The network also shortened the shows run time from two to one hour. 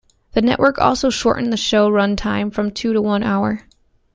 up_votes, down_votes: 0, 2